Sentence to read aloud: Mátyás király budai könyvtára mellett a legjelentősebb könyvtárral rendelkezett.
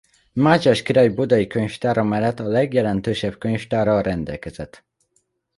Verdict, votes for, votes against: accepted, 2, 0